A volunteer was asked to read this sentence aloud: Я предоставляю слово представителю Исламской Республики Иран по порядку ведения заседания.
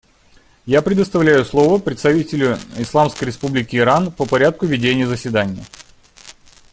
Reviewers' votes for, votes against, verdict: 2, 0, accepted